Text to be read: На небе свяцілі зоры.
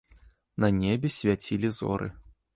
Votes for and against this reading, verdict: 2, 0, accepted